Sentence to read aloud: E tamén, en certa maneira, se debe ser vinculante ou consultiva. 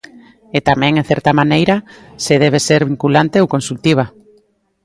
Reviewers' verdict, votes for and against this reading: accepted, 2, 0